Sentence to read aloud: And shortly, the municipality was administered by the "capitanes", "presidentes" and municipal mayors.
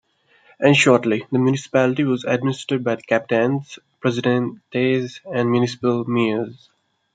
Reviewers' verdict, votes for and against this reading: rejected, 0, 2